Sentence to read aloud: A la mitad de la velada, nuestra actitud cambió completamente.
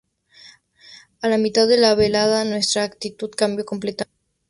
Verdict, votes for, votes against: rejected, 0, 2